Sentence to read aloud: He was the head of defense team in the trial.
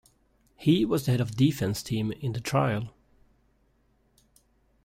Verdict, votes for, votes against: accepted, 2, 0